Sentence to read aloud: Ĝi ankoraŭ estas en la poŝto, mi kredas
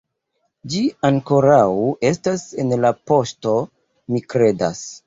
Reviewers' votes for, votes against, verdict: 0, 2, rejected